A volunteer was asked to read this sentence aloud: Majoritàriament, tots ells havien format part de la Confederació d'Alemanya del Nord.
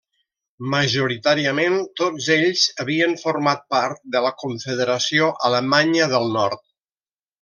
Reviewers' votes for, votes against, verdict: 1, 2, rejected